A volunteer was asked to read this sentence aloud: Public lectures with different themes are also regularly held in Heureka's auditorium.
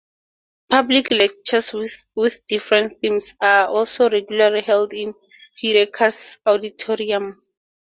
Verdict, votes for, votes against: accepted, 4, 0